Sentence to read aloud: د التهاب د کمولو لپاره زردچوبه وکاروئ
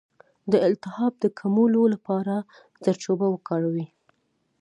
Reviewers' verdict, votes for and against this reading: accepted, 2, 0